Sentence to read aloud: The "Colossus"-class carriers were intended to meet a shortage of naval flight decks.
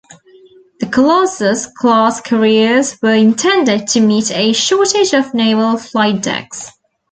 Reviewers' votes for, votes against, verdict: 1, 2, rejected